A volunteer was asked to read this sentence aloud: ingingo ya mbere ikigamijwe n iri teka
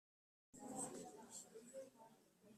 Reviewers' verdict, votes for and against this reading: rejected, 1, 2